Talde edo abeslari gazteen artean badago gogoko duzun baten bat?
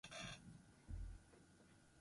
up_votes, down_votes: 0, 6